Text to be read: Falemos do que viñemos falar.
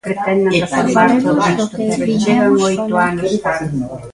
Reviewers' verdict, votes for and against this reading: rejected, 0, 2